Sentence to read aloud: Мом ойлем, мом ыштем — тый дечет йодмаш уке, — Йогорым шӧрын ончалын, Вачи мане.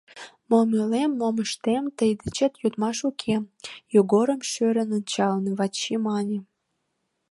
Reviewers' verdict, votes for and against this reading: accepted, 3, 0